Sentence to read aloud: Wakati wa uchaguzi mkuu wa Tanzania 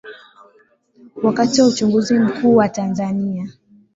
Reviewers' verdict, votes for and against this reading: accepted, 3, 0